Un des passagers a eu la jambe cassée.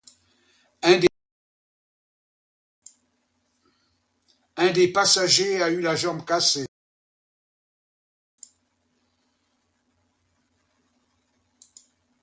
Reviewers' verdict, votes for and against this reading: rejected, 1, 2